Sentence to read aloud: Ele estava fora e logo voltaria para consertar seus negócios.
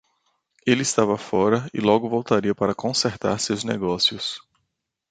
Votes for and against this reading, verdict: 2, 0, accepted